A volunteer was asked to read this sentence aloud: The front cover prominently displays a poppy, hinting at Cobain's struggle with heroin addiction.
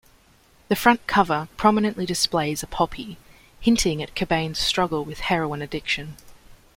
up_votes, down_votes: 2, 0